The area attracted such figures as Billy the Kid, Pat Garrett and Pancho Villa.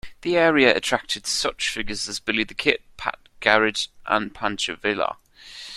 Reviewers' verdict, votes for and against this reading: accepted, 2, 1